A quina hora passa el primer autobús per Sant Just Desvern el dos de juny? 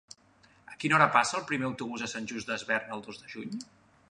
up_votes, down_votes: 0, 2